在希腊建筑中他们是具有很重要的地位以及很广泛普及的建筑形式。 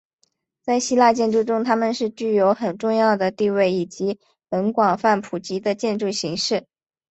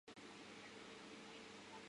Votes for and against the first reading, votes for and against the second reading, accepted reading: 2, 0, 3, 4, first